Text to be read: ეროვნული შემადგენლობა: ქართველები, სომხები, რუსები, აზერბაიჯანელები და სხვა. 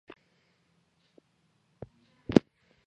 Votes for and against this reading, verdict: 2, 1, accepted